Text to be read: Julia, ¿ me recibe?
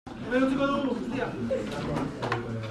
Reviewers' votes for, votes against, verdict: 0, 2, rejected